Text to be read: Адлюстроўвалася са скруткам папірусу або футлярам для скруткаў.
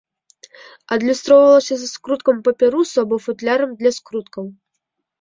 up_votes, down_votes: 1, 2